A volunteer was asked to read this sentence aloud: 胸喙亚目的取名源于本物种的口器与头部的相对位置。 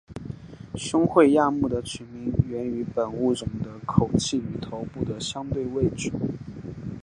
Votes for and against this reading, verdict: 2, 1, accepted